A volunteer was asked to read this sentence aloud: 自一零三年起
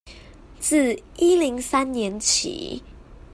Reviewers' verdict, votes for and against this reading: accepted, 2, 0